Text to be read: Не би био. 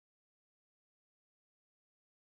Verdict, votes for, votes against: rejected, 0, 2